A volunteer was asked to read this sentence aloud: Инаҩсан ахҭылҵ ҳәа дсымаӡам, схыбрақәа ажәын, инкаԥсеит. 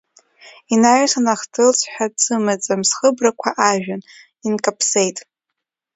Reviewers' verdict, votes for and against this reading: rejected, 1, 2